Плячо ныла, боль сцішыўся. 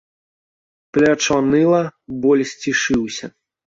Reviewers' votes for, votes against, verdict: 2, 1, accepted